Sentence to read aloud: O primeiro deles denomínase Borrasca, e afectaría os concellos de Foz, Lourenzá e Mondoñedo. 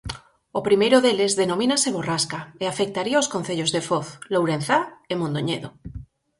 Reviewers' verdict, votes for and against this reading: accepted, 4, 0